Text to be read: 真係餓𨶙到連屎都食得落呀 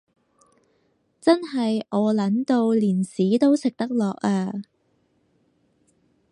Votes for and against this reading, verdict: 4, 0, accepted